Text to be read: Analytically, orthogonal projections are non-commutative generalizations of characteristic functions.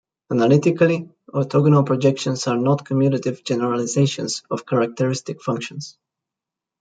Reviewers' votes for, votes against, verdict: 1, 2, rejected